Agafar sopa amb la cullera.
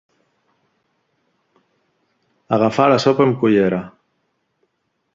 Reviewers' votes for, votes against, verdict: 1, 2, rejected